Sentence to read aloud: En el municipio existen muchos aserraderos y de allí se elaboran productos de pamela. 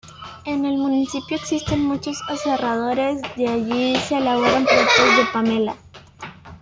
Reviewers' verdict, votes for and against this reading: rejected, 1, 2